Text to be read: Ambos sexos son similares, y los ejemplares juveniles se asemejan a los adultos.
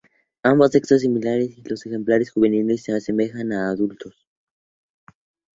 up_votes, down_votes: 2, 0